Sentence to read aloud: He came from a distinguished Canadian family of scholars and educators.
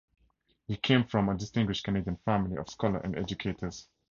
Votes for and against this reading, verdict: 2, 4, rejected